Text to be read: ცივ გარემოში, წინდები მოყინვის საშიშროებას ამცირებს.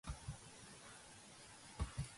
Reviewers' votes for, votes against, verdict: 0, 2, rejected